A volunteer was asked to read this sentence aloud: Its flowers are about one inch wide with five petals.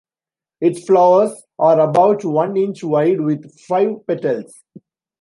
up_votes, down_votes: 2, 0